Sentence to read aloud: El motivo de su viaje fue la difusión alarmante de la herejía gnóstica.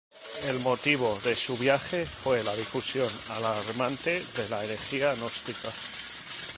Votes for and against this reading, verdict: 0, 2, rejected